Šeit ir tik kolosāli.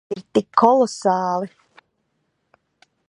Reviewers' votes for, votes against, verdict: 0, 2, rejected